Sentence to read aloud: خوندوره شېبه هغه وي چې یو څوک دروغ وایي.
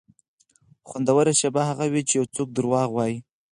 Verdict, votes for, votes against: accepted, 4, 0